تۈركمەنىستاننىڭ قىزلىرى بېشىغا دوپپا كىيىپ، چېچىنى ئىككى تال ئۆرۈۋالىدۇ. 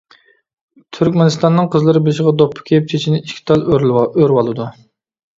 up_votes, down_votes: 0, 2